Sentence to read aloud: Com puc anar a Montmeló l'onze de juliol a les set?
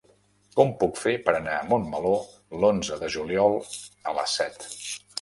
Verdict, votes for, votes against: rejected, 0, 2